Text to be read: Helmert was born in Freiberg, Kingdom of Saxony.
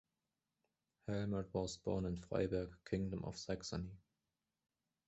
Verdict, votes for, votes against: rejected, 1, 2